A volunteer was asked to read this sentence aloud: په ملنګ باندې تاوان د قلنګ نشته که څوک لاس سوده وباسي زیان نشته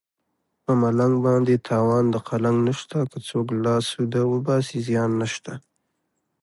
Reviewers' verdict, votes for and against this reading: accepted, 2, 1